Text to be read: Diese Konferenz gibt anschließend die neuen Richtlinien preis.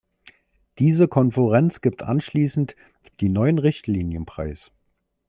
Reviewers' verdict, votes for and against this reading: rejected, 0, 2